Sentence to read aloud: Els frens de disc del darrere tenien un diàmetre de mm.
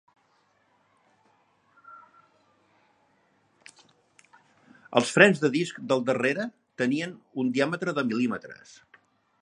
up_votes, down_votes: 0, 2